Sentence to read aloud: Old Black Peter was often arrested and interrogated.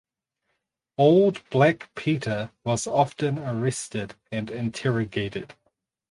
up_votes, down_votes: 4, 0